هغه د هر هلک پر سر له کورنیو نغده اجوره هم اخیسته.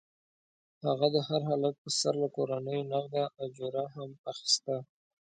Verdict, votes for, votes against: accepted, 2, 0